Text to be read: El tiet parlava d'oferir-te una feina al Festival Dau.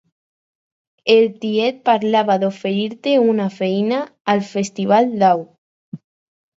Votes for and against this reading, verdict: 4, 0, accepted